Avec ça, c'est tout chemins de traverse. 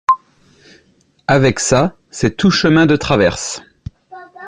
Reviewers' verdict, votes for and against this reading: accepted, 2, 0